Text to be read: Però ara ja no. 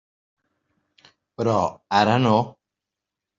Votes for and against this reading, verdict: 1, 2, rejected